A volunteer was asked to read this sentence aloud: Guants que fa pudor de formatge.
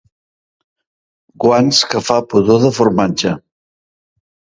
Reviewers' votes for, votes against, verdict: 2, 0, accepted